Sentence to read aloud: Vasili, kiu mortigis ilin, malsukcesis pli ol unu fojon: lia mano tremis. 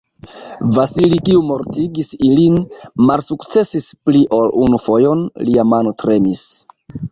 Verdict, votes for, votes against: accepted, 2, 1